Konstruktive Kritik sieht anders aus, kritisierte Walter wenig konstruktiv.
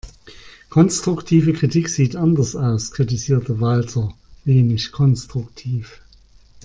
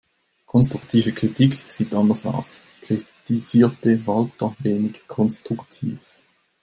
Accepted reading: first